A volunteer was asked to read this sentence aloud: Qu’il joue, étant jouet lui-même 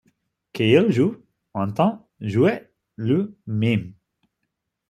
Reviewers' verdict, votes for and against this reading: rejected, 0, 2